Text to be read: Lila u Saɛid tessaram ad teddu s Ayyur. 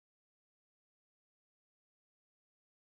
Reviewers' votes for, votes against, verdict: 0, 2, rejected